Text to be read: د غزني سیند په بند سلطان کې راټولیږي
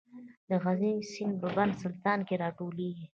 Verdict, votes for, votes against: rejected, 1, 2